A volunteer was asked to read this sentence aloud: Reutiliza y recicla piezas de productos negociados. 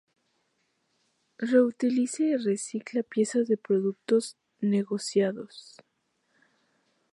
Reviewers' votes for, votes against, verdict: 0, 2, rejected